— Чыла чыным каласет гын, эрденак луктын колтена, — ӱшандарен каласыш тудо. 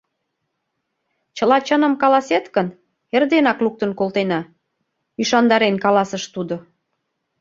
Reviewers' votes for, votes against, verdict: 2, 0, accepted